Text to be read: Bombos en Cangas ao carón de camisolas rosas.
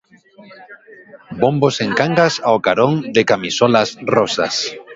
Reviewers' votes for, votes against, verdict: 1, 2, rejected